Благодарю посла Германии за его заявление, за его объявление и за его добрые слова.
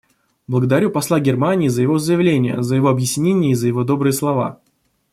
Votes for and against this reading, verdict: 0, 2, rejected